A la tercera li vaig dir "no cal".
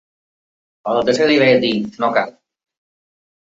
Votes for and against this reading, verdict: 0, 2, rejected